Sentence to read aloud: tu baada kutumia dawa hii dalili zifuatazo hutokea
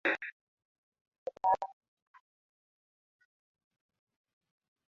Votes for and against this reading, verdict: 0, 5, rejected